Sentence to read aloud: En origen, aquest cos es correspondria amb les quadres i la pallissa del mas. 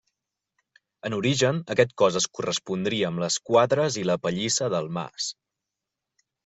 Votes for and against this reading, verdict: 3, 0, accepted